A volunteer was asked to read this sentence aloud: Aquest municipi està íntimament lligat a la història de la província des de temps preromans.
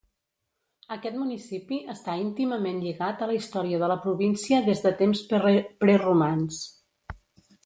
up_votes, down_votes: 1, 2